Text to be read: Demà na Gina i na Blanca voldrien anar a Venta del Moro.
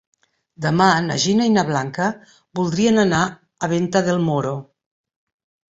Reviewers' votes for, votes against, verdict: 3, 0, accepted